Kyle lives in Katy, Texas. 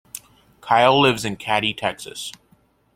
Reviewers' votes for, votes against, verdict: 2, 0, accepted